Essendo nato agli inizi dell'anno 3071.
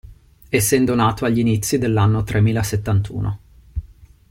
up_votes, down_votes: 0, 2